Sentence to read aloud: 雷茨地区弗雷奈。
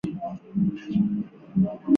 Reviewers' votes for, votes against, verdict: 1, 2, rejected